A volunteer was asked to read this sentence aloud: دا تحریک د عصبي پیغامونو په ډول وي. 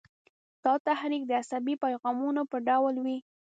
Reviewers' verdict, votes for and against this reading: accepted, 2, 0